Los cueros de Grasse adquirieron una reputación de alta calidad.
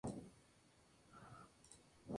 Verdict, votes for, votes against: rejected, 0, 2